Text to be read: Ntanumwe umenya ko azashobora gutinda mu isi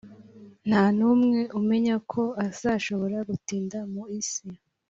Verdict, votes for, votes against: accepted, 2, 0